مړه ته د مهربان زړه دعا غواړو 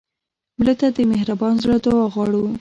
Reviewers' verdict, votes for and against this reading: rejected, 0, 2